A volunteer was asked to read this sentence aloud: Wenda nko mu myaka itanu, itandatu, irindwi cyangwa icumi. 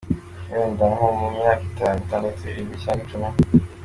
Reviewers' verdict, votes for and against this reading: accepted, 2, 1